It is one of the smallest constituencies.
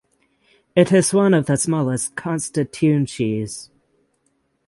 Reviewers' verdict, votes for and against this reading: accepted, 6, 0